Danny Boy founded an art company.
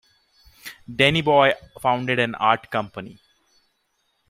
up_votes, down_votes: 2, 3